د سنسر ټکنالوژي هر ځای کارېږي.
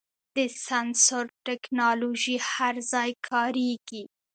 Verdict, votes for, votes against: accepted, 2, 0